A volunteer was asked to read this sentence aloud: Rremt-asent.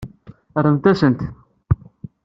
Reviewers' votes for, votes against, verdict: 2, 0, accepted